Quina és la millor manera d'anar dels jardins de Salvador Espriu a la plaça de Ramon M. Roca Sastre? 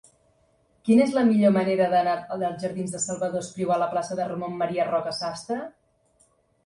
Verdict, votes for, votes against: rejected, 1, 2